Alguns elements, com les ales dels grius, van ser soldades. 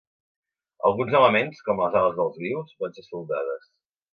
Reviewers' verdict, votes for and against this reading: accepted, 3, 0